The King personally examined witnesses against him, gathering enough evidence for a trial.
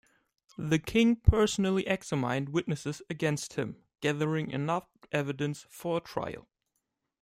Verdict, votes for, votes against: rejected, 0, 2